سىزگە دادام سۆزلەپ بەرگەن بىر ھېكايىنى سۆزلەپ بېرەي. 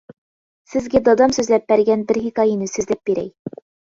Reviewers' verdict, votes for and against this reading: accepted, 2, 0